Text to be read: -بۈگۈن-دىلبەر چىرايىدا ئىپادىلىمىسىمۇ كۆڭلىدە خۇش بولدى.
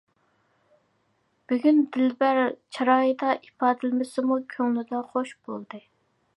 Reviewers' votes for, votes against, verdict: 2, 0, accepted